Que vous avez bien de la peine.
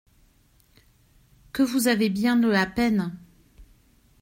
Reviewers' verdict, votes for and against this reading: accepted, 2, 0